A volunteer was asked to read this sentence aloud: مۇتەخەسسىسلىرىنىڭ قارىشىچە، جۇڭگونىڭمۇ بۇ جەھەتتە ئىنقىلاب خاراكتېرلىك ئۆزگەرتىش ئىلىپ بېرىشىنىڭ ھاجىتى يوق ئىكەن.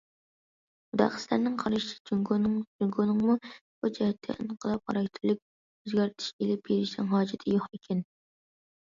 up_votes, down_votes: 0, 2